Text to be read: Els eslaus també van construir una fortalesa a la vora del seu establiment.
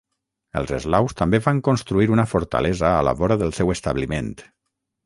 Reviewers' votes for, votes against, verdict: 3, 6, rejected